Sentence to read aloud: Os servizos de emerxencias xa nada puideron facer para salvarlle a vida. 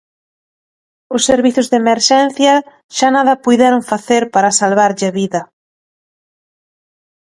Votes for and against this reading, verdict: 1, 2, rejected